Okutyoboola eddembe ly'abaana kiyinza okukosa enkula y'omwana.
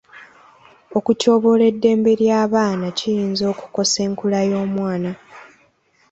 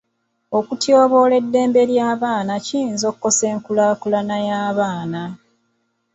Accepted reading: first